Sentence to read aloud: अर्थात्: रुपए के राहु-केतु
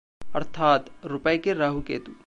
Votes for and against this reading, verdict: 2, 0, accepted